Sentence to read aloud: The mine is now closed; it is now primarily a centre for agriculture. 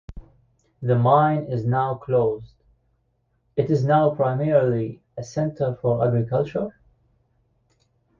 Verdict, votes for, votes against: accepted, 2, 0